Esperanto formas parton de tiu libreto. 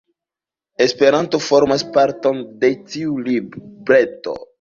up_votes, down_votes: 0, 2